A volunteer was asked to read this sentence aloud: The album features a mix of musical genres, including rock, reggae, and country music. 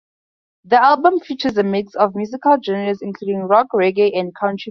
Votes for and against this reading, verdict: 0, 4, rejected